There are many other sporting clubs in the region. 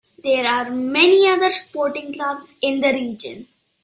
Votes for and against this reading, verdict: 3, 0, accepted